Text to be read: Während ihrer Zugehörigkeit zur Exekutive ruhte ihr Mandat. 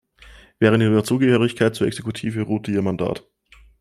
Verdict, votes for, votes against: accepted, 2, 0